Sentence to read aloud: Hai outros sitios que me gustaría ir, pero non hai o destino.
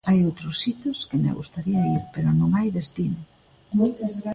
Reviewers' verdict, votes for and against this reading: rejected, 0, 2